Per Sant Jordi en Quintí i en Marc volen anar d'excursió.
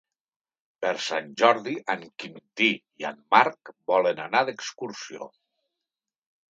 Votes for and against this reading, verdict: 3, 0, accepted